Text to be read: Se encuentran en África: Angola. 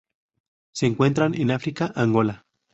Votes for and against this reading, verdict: 2, 0, accepted